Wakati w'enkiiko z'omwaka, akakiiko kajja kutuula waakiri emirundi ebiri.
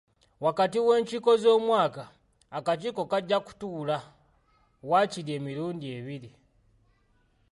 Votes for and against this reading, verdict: 2, 0, accepted